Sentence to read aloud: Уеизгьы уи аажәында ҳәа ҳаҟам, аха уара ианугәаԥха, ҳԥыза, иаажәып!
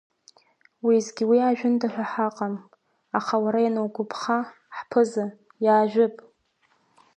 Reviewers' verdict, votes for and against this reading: accepted, 2, 0